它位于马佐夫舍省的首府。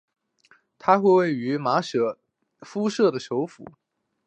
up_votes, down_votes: 3, 0